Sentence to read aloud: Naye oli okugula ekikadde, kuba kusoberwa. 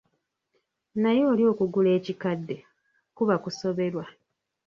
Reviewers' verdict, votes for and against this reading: rejected, 1, 2